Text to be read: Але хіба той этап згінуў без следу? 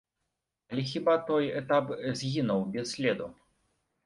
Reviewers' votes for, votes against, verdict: 1, 2, rejected